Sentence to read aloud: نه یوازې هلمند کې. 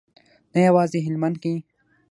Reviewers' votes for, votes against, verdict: 3, 6, rejected